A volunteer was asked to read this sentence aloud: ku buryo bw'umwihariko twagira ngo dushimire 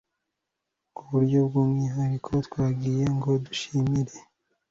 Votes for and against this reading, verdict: 0, 2, rejected